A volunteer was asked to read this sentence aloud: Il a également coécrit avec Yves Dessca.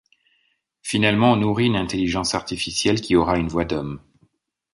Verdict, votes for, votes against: rejected, 0, 2